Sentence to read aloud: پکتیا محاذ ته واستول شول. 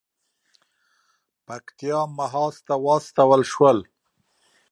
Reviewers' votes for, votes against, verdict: 2, 0, accepted